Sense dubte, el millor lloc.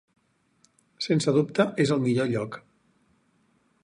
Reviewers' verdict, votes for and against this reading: rejected, 2, 4